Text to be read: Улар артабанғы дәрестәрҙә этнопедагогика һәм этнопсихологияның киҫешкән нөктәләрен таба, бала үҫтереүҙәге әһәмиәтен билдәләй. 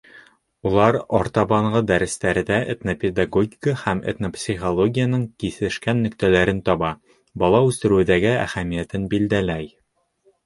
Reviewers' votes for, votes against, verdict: 1, 2, rejected